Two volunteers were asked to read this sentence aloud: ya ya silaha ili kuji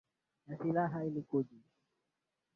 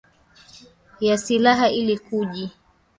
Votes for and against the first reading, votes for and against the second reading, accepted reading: 0, 2, 2, 1, second